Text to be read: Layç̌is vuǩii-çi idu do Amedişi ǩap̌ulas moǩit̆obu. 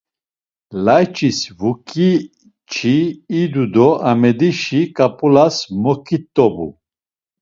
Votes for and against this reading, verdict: 2, 0, accepted